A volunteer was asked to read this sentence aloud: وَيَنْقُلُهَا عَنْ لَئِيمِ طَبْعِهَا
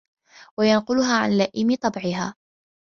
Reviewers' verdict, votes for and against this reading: accepted, 2, 0